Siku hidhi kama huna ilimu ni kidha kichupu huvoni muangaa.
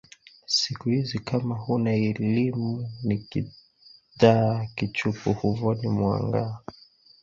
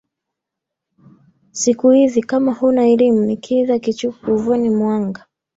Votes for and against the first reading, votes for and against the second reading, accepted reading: 2, 0, 1, 2, first